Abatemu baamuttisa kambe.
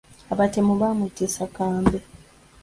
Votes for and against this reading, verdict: 2, 1, accepted